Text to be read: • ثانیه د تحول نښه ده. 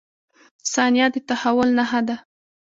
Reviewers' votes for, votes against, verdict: 2, 0, accepted